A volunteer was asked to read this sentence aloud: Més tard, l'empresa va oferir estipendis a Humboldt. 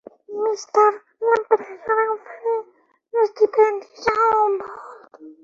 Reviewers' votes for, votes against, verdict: 0, 2, rejected